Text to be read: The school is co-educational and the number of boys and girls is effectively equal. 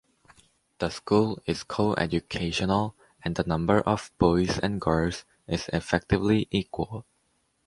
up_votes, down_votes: 2, 0